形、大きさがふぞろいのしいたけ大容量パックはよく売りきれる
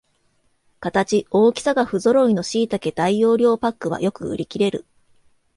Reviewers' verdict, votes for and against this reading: accepted, 2, 0